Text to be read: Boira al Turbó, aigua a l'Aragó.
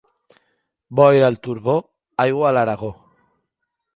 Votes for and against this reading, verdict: 2, 0, accepted